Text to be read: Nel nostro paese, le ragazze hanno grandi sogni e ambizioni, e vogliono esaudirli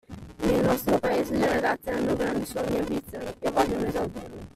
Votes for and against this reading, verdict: 0, 2, rejected